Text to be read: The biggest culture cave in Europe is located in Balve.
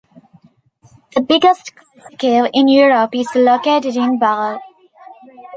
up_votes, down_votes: 0, 2